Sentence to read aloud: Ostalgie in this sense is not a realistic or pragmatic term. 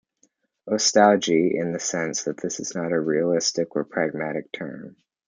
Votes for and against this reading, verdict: 1, 2, rejected